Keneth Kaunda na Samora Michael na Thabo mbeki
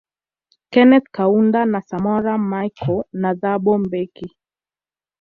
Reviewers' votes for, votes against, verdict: 2, 0, accepted